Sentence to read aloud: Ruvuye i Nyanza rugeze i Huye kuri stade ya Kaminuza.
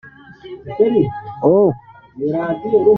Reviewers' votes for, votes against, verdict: 0, 2, rejected